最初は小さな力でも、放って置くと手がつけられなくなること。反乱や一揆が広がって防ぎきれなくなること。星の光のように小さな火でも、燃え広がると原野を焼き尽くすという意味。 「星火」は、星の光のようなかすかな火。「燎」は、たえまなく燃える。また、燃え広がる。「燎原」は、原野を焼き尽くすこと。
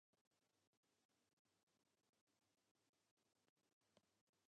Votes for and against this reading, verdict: 0, 2, rejected